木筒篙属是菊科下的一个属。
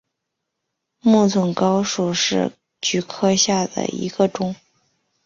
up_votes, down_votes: 1, 2